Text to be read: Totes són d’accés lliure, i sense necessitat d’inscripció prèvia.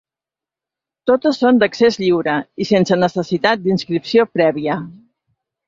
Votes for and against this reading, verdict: 3, 0, accepted